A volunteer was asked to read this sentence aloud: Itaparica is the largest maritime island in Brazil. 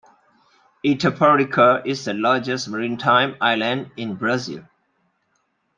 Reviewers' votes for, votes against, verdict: 2, 0, accepted